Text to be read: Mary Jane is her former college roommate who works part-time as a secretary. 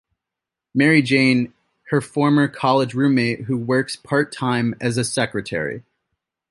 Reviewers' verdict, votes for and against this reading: rejected, 0, 2